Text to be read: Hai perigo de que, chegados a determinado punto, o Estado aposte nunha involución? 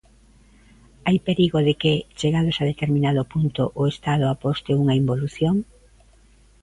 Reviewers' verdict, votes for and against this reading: accepted, 2, 1